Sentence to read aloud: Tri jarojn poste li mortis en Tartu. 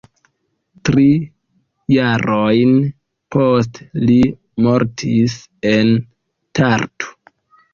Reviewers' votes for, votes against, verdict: 2, 1, accepted